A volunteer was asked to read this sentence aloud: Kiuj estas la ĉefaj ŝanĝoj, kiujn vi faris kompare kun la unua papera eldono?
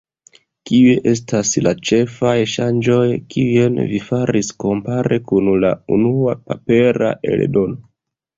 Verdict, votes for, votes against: rejected, 1, 2